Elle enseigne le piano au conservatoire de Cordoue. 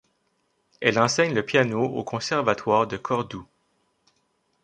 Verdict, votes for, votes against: accepted, 2, 0